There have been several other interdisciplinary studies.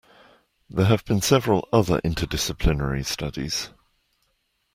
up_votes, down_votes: 2, 0